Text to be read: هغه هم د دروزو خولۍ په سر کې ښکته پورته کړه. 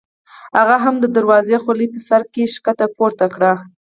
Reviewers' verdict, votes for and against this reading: accepted, 4, 0